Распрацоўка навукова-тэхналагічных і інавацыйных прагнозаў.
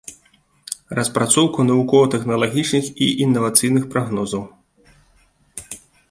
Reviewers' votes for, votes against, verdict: 2, 0, accepted